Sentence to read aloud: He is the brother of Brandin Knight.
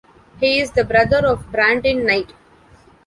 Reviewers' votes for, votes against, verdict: 2, 0, accepted